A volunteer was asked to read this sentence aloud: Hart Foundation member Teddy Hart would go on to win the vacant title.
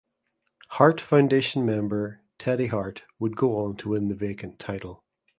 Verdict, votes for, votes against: accepted, 2, 0